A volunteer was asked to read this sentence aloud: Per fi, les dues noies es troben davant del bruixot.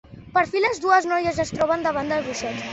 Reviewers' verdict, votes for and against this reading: accepted, 3, 0